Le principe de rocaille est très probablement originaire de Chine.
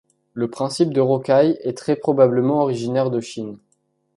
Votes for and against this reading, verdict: 2, 0, accepted